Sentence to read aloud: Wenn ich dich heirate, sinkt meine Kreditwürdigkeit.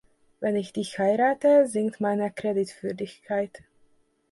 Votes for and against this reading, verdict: 2, 0, accepted